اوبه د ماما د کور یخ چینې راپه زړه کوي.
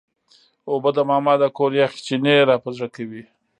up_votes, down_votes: 2, 0